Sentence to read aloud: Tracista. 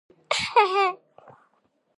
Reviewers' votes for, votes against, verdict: 0, 2, rejected